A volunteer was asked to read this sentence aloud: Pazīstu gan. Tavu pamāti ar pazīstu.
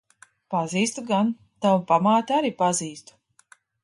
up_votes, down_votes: 1, 2